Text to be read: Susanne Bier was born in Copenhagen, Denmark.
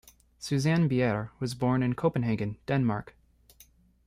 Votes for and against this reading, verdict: 1, 2, rejected